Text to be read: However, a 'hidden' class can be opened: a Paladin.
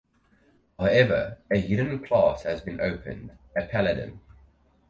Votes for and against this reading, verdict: 2, 4, rejected